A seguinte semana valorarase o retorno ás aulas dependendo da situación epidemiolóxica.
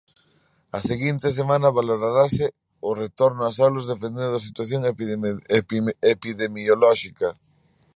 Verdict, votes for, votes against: rejected, 0, 2